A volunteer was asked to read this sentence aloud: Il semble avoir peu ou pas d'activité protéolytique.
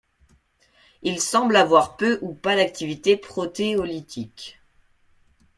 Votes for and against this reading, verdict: 2, 0, accepted